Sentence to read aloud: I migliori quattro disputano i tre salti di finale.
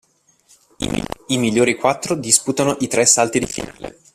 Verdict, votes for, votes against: rejected, 0, 2